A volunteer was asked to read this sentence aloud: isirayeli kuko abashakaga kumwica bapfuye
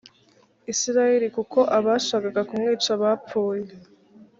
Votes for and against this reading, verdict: 2, 0, accepted